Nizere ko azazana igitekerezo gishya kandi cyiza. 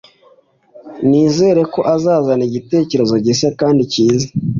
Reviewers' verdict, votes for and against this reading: accepted, 3, 0